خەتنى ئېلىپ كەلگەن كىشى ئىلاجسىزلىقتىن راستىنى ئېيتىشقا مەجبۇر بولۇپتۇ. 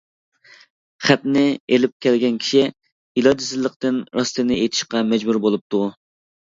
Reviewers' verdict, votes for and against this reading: accepted, 2, 0